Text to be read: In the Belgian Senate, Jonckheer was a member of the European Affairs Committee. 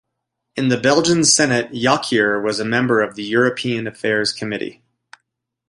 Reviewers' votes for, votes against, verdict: 2, 0, accepted